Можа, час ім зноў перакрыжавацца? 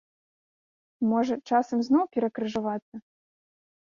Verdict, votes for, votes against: rejected, 1, 2